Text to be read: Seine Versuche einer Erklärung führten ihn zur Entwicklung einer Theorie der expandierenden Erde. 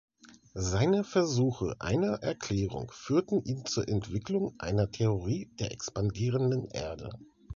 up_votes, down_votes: 2, 0